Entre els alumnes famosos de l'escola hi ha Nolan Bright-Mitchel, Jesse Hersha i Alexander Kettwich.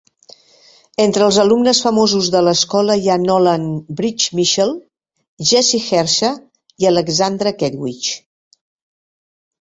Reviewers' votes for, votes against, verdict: 1, 2, rejected